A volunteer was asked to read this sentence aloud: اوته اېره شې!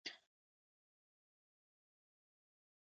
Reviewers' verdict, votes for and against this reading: rejected, 1, 2